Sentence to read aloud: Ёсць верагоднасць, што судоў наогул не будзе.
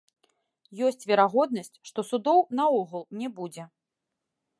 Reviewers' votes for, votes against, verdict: 1, 2, rejected